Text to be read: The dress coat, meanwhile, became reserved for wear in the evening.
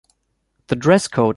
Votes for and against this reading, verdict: 0, 2, rejected